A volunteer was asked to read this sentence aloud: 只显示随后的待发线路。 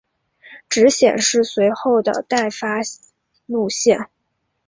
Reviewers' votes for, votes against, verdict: 1, 2, rejected